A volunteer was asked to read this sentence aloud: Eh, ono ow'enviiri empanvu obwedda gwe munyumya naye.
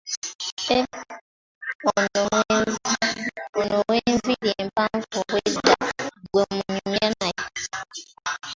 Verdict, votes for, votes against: rejected, 0, 2